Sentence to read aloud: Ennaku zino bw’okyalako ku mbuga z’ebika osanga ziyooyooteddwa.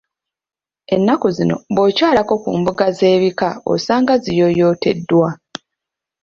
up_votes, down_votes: 2, 1